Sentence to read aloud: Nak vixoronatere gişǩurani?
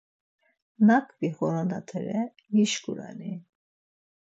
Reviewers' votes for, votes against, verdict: 4, 0, accepted